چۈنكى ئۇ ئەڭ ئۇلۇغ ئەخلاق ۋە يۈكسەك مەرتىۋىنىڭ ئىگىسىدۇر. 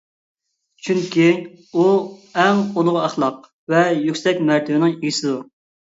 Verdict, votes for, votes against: rejected, 1, 2